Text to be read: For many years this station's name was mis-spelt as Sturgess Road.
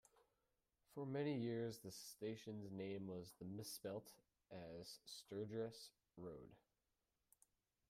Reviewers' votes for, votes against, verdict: 0, 2, rejected